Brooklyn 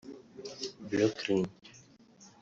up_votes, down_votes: 1, 2